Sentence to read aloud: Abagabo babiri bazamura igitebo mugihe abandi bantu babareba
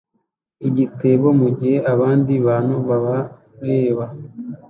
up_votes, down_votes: 0, 2